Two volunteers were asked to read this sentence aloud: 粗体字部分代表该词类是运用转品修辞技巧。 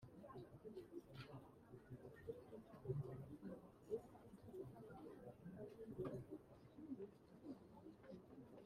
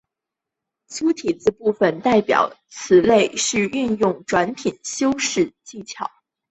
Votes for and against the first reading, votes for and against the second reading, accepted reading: 0, 2, 5, 0, second